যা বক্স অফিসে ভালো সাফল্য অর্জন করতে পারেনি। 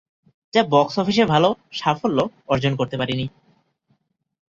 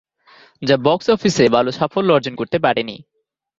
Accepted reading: first